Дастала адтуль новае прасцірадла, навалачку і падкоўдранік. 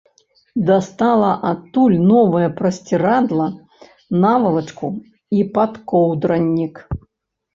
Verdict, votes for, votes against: accepted, 2, 0